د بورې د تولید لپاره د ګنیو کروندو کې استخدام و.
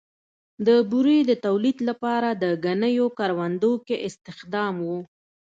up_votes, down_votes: 2, 0